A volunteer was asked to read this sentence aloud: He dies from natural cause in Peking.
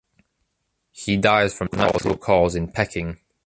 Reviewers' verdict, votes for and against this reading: rejected, 1, 2